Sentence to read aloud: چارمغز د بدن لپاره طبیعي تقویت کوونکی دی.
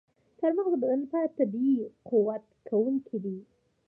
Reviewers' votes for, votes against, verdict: 2, 0, accepted